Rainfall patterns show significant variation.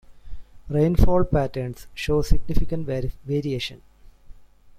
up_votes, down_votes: 1, 2